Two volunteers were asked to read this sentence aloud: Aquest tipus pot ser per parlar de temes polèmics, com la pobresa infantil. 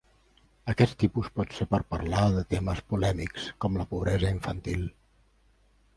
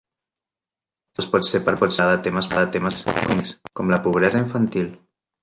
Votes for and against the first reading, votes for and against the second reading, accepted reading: 3, 0, 0, 2, first